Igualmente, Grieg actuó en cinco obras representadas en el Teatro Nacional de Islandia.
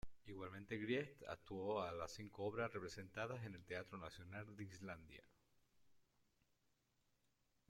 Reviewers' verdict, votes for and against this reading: rejected, 0, 2